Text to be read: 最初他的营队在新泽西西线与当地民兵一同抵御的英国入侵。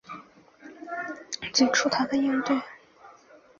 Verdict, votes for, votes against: rejected, 2, 3